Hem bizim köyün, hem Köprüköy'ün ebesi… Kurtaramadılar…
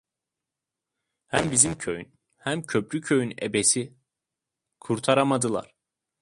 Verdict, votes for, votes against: accepted, 2, 0